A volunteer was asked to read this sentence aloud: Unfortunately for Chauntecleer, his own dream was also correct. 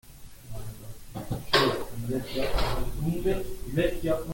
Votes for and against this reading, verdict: 0, 2, rejected